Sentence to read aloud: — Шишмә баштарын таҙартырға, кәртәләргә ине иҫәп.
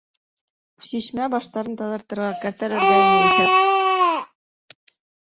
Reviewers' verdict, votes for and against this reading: rejected, 0, 2